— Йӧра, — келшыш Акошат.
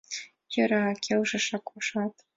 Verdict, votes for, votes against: accepted, 6, 0